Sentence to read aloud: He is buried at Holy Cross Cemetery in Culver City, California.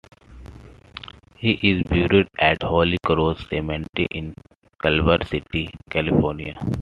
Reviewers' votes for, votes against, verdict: 2, 0, accepted